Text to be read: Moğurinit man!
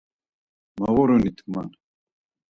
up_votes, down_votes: 4, 0